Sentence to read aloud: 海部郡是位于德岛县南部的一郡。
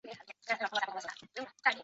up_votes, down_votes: 0, 2